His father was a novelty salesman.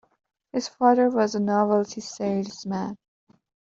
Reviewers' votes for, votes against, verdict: 2, 0, accepted